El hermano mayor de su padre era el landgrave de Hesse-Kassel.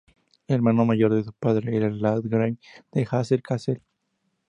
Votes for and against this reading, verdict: 2, 0, accepted